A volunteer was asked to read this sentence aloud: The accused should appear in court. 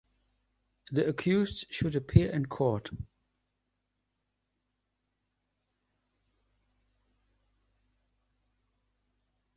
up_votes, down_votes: 2, 0